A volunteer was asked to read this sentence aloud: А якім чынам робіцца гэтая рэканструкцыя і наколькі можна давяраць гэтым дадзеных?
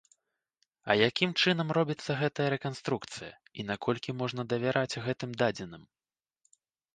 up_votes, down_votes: 1, 2